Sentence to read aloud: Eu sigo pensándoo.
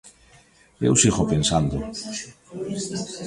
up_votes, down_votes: 2, 1